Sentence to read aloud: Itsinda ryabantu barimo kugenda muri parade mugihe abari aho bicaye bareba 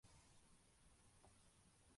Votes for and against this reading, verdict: 0, 2, rejected